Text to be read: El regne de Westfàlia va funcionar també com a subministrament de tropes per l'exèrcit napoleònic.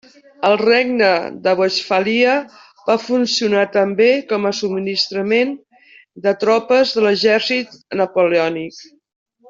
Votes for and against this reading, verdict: 0, 2, rejected